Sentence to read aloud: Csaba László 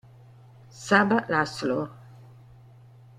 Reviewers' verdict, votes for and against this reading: rejected, 1, 2